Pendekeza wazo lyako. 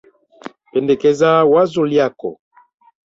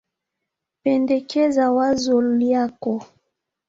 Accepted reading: first